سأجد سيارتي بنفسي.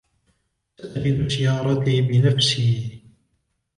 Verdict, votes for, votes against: rejected, 1, 2